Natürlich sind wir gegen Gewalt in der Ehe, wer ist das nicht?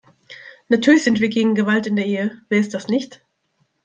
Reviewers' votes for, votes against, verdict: 2, 0, accepted